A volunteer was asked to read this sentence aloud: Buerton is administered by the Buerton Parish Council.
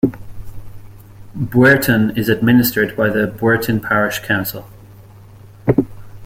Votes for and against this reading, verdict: 1, 2, rejected